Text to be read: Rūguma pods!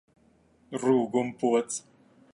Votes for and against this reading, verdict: 2, 1, accepted